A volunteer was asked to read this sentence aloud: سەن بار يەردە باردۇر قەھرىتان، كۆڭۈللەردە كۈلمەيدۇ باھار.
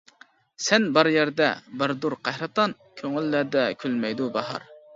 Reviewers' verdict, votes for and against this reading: accepted, 2, 0